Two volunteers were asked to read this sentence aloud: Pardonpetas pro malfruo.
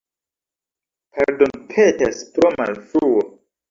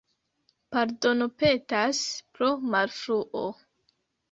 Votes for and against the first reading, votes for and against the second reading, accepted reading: 0, 2, 2, 1, second